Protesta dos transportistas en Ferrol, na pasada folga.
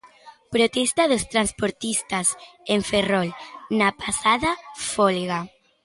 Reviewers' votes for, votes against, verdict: 1, 2, rejected